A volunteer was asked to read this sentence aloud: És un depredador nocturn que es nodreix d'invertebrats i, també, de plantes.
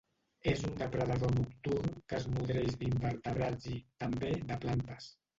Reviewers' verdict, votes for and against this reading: rejected, 2, 3